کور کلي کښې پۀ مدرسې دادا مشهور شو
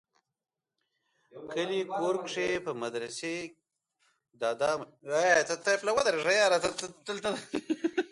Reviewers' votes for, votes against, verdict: 0, 2, rejected